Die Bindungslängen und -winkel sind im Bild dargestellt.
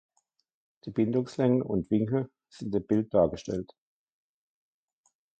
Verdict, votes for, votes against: rejected, 1, 2